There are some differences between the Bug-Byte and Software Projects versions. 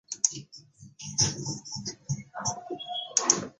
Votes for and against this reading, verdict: 0, 2, rejected